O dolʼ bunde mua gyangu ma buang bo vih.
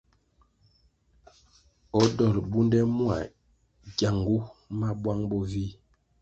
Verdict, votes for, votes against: accepted, 2, 0